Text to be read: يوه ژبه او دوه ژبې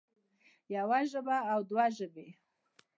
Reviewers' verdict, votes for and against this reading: accepted, 2, 0